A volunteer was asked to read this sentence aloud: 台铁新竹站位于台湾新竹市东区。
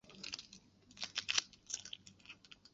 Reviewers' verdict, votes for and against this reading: rejected, 0, 2